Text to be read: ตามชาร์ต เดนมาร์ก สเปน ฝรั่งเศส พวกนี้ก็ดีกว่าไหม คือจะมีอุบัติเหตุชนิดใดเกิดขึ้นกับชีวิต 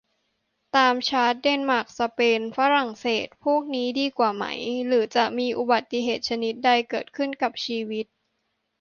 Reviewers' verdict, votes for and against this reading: rejected, 0, 2